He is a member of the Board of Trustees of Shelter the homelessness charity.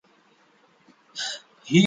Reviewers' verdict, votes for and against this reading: rejected, 0, 2